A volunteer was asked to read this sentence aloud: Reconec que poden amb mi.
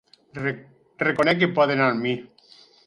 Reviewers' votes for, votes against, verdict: 0, 4, rejected